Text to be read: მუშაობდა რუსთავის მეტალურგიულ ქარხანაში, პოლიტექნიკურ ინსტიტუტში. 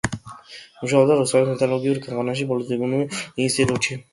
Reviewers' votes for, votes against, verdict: 0, 2, rejected